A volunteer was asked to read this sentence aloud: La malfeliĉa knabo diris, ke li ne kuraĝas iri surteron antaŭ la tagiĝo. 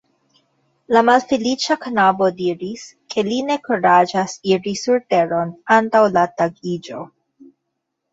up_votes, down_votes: 2, 0